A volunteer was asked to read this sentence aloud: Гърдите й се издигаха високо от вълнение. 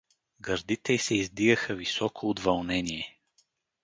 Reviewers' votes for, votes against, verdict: 0, 2, rejected